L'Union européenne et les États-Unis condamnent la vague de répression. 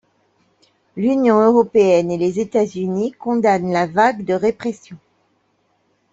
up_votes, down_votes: 2, 0